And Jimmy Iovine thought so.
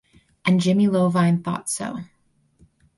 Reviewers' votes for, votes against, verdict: 4, 0, accepted